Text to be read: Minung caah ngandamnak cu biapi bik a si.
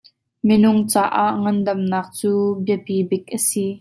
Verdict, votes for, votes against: accepted, 2, 0